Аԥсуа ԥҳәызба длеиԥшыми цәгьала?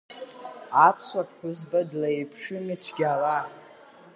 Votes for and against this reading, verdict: 5, 2, accepted